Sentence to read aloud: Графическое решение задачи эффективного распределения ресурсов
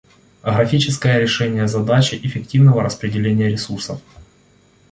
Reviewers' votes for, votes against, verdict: 0, 2, rejected